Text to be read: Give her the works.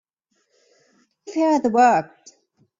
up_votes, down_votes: 0, 2